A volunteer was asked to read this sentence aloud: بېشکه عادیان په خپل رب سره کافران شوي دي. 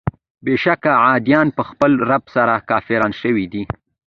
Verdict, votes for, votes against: accepted, 2, 1